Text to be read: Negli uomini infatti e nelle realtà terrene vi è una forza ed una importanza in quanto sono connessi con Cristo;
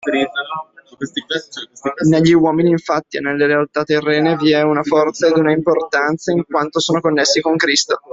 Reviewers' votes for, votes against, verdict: 1, 2, rejected